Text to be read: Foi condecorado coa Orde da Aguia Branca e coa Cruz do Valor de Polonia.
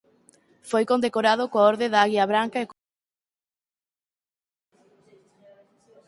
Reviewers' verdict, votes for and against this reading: rejected, 0, 4